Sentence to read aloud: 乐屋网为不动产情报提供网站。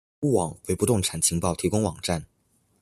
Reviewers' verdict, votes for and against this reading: rejected, 1, 2